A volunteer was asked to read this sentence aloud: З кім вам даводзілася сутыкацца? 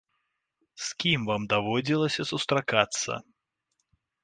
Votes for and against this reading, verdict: 1, 2, rejected